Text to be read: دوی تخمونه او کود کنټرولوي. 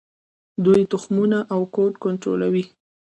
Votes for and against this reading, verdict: 2, 0, accepted